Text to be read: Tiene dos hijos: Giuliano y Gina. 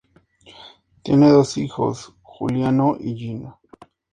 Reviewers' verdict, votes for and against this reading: accepted, 2, 0